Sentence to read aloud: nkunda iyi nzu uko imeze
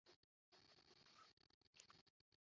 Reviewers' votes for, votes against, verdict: 0, 2, rejected